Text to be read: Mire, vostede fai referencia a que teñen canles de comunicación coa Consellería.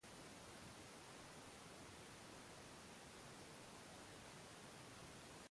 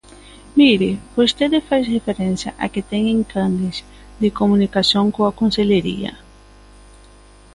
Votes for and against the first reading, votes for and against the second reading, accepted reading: 0, 2, 2, 0, second